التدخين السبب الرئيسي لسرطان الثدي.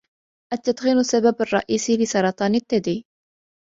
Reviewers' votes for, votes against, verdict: 2, 0, accepted